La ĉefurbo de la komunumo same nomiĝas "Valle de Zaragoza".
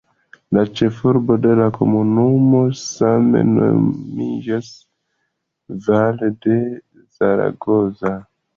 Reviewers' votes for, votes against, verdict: 2, 1, accepted